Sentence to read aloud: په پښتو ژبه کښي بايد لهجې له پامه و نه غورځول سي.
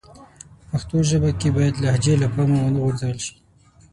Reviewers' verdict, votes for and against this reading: rejected, 3, 6